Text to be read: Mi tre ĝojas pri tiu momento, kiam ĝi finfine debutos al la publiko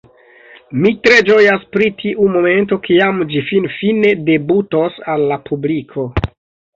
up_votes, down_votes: 0, 2